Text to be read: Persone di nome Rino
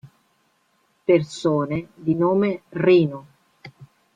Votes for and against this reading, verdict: 3, 0, accepted